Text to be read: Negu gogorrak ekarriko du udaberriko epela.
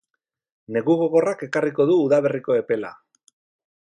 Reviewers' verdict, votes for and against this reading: rejected, 2, 2